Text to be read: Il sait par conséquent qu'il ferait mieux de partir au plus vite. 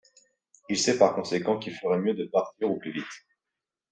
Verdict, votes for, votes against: accepted, 2, 0